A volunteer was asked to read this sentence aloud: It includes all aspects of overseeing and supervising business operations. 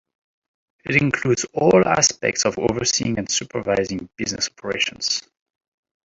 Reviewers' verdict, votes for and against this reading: rejected, 0, 2